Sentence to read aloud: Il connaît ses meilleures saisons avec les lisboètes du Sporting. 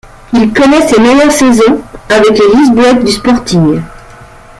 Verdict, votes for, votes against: rejected, 1, 2